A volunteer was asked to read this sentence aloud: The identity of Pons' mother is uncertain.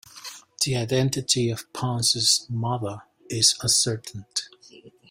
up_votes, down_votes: 1, 2